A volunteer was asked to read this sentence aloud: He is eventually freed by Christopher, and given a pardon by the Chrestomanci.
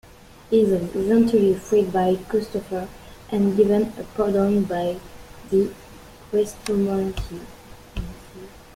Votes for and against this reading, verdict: 0, 3, rejected